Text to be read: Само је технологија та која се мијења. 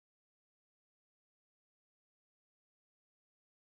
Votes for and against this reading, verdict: 0, 2, rejected